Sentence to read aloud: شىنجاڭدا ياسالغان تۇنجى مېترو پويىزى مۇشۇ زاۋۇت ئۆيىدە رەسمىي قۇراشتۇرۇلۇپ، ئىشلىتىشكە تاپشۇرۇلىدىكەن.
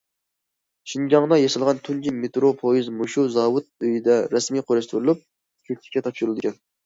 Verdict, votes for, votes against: rejected, 0, 2